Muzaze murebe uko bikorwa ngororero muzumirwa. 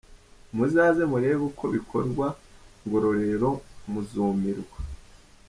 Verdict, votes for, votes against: accepted, 4, 0